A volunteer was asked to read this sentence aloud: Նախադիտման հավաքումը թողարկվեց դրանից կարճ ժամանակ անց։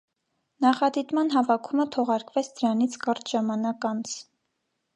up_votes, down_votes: 2, 0